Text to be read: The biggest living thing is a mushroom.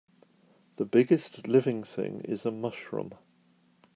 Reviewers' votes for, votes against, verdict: 3, 0, accepted